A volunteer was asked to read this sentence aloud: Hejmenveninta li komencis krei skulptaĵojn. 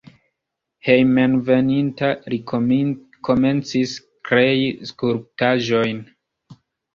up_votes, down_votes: 0, 2